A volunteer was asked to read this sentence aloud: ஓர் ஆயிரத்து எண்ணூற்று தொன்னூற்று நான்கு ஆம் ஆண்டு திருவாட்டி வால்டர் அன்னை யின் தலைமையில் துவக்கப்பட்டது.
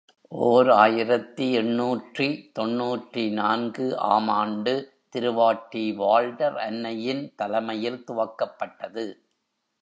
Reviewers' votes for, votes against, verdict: 0, 2, rejected